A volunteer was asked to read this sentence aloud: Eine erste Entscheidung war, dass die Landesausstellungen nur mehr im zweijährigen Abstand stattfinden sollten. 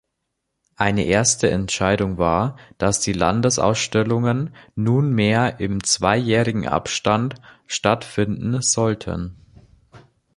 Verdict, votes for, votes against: rejected, 0, 3